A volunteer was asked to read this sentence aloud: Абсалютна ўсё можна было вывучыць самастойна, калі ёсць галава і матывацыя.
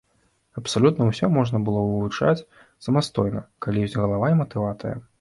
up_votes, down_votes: 1, 2